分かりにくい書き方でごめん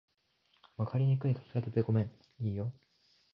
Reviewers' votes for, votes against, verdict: 1, 2, rejected